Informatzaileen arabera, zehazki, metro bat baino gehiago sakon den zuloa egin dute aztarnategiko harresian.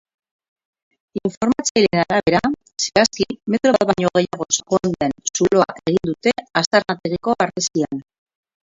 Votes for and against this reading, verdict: 0, 6, rejected